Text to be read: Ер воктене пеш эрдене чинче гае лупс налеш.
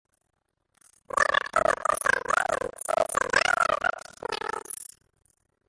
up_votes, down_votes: 0, 2